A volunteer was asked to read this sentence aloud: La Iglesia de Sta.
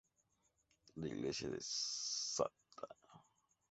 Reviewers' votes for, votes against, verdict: 0, 2, rejected